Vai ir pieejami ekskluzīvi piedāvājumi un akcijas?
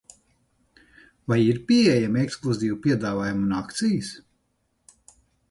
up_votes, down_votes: 6, 0